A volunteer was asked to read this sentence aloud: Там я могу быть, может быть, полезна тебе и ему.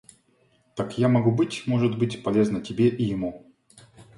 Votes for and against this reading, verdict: 2, 1, accepted